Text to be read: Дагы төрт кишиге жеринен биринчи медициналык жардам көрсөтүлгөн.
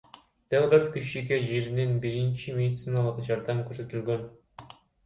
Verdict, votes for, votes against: rejected, 0, 2